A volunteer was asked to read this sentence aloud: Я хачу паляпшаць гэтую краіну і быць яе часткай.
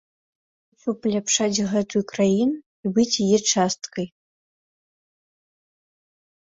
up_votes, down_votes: 0, 2